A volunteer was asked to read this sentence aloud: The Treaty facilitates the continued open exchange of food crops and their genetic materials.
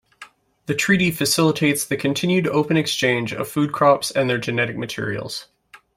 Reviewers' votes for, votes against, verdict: 2, 0, accepted